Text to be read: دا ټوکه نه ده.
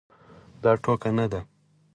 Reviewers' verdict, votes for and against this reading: accepted, 4, 0